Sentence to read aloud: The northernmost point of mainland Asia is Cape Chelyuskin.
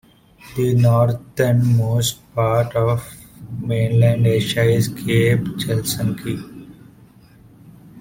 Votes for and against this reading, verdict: 0, 2, rejected